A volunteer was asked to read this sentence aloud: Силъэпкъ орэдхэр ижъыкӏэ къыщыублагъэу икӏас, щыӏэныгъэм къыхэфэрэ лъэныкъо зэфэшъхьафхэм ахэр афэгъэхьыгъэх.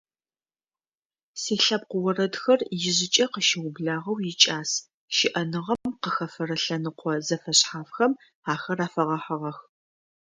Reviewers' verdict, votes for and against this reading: accepted, 2, 0